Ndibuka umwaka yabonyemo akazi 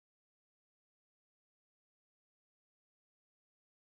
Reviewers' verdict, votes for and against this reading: rejected, 0, 2